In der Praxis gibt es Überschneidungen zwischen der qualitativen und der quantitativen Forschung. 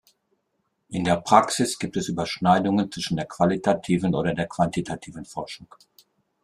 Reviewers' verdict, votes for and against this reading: rejected, 0, 2